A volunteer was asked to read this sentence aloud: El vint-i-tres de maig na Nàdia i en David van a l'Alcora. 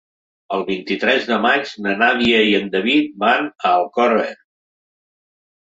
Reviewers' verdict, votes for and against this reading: rejected, 0, 2